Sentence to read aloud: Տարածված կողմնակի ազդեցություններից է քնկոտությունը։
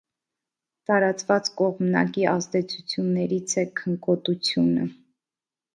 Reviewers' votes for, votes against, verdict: 2, 0, accepted